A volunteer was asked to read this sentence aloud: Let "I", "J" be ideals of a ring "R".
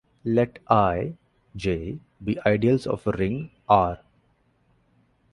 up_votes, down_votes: 2, 0